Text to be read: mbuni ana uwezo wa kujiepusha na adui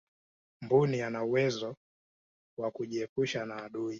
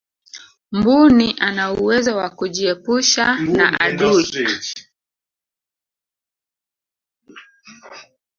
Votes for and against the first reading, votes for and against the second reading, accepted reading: 2, 1, 1, 2, first